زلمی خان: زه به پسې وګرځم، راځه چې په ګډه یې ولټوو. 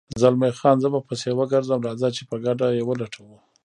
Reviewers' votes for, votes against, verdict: 1, 2, rejected